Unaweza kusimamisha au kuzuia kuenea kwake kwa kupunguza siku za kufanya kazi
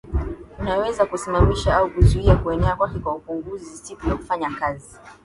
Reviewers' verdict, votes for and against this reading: accepted, 2, 0